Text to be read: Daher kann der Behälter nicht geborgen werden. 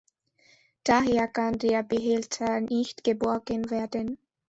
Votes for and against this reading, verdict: 2, 0, accepted